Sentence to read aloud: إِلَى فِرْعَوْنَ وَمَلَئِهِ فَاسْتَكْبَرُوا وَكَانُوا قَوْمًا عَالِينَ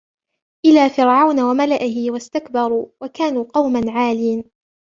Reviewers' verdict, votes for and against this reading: accepted, 2, 0